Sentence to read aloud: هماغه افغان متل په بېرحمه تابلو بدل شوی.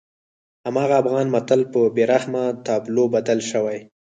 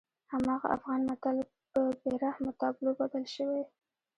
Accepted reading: second